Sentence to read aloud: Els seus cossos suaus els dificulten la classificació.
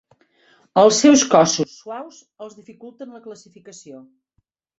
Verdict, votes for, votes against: rejected, 1, 2